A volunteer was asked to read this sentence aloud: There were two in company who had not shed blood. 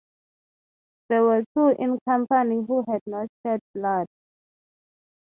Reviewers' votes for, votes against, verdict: 3, 0, accepted